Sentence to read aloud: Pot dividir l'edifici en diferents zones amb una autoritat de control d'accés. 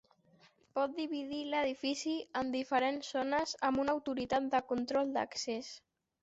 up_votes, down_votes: 3, 0